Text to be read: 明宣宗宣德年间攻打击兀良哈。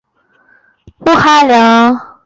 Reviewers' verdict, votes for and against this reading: rejected, 0, 2